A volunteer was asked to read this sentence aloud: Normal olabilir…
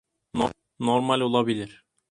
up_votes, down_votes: 0, 2